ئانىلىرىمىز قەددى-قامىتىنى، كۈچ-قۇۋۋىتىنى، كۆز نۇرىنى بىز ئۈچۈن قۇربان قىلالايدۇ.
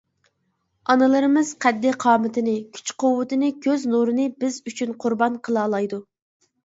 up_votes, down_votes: 2, 0